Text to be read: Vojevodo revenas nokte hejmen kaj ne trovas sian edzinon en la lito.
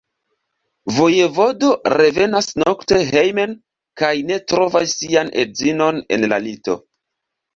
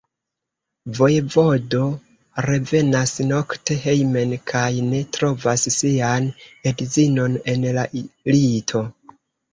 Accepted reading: first